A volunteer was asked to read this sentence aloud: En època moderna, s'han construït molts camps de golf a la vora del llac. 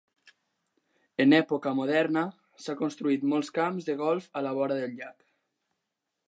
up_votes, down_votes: 2, 1